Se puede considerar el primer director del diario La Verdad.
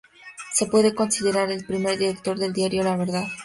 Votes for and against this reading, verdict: 2, 0, accepted